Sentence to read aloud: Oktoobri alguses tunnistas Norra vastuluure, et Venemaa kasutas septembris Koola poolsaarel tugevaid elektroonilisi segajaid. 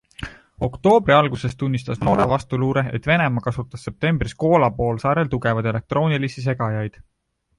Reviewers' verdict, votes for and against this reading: accepted, 2, 1